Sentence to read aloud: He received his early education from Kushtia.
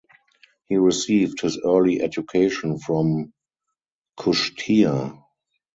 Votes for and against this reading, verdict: 2, 2, rejected